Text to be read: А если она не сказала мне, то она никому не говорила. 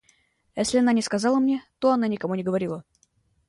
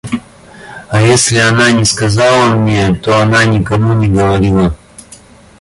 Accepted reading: first